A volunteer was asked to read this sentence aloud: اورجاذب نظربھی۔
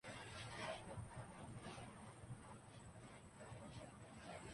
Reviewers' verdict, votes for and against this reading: rejected, 0, 2